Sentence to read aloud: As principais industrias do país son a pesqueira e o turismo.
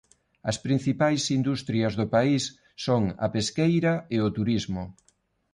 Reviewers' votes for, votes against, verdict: 2, 0, accepted